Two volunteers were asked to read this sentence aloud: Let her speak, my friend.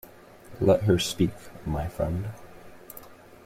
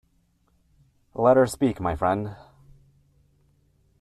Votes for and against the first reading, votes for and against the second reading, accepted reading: 2, 0, 1, 2, first